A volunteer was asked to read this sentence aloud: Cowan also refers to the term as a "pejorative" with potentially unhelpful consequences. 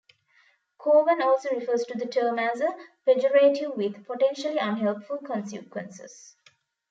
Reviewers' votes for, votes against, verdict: 2, 1, accepted